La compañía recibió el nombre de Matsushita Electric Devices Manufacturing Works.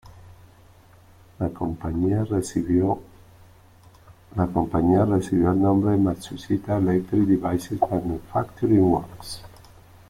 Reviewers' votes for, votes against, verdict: 1, 3, rejected